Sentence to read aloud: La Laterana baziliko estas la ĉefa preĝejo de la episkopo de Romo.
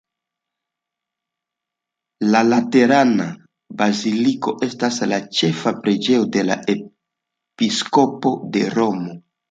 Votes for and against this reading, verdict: 2, 0, accepted